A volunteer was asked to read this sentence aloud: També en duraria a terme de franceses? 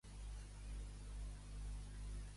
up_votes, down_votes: 0, 2